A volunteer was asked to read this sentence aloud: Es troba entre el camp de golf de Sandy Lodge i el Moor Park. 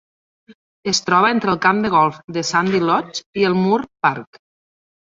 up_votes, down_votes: 1, 2